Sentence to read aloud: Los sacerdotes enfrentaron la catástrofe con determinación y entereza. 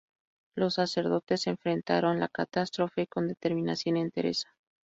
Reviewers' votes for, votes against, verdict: 2, 0, accepted